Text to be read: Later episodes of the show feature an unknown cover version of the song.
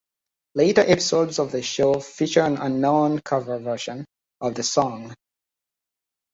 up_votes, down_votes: 2, 0